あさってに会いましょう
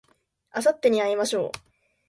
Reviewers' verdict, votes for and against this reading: accepted, 2, 0